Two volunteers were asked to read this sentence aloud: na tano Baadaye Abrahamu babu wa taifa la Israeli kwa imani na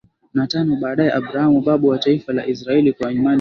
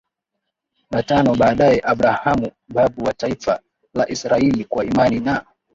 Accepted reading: second